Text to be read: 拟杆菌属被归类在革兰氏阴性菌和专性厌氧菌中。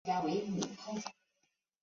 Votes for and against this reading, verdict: 0, 3, rejected